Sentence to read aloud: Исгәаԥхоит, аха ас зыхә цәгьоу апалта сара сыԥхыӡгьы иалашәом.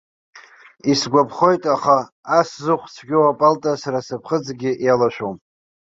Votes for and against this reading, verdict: 2, 0, accepted